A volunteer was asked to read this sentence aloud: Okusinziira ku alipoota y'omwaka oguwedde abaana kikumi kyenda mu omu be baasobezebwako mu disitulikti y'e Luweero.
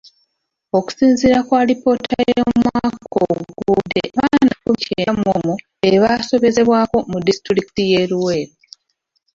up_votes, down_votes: 0, 2